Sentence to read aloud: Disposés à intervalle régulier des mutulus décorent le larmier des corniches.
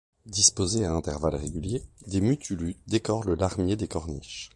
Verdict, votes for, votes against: accepted, 2, 1